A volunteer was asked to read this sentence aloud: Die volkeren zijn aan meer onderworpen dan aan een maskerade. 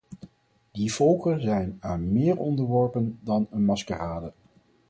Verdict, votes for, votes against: rejected, 0, 4